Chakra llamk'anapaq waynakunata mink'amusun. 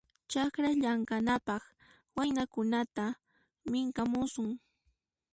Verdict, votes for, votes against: rejected, 1, 2